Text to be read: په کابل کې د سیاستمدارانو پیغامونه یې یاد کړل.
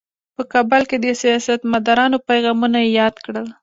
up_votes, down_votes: 1, 2